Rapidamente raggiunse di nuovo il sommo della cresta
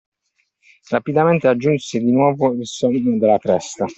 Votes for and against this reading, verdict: 0, 2, rejected